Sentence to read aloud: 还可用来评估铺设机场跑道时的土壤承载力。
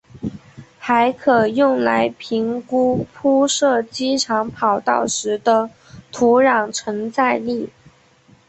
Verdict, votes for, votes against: accepted, 2, 0